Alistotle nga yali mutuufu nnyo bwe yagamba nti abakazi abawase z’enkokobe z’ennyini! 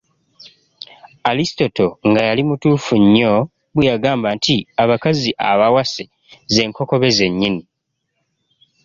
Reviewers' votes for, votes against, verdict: 2, 1, accepted